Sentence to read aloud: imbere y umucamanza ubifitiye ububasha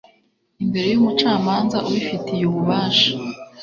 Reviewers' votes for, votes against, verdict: 2, 0, accepted